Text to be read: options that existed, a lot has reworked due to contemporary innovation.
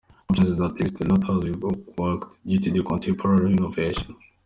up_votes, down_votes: 2, 1